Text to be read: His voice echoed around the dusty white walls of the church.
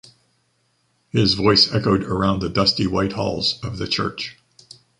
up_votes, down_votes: 1, 2